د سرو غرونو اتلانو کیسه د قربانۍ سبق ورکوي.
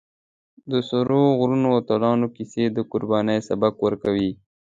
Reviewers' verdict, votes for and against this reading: accepted, 2, 0